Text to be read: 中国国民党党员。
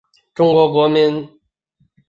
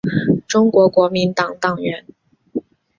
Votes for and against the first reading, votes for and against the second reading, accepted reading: 0, 2, 2, 1, second